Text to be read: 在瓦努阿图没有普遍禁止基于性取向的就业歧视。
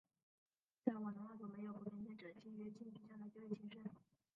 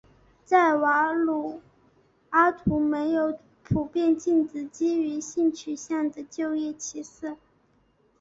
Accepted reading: second